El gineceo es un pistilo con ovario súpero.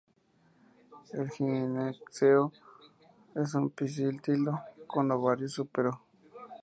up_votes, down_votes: 2, 0